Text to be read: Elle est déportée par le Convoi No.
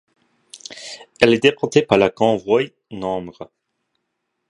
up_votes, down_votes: 1, 2